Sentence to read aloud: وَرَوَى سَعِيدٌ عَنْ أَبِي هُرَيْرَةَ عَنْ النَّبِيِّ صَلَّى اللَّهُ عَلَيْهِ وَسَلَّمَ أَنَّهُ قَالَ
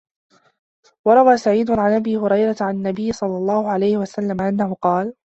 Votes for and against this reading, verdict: 2, 0, accepted